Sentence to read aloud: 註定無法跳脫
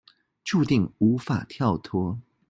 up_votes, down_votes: 0, 2